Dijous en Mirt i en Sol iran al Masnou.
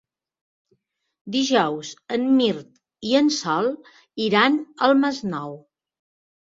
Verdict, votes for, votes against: accepted, 2, 0